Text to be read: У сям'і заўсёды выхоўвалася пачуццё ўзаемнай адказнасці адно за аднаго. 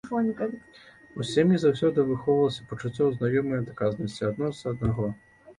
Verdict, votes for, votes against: rejected, 0, 2